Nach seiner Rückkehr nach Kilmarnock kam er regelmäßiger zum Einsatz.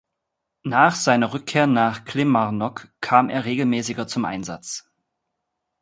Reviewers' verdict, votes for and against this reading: rejected, 0, 2